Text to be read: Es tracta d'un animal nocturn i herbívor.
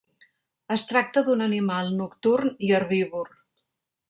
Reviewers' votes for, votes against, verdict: 3, 0, accepted